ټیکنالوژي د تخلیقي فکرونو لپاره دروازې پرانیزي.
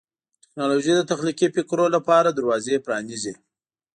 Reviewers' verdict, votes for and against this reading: accepted, 3, 0